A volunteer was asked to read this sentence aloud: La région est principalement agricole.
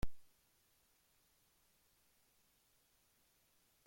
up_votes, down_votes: 0, 2